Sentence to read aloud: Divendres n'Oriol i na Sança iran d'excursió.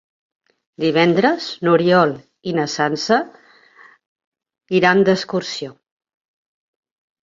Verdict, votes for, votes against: accepted, 2, 0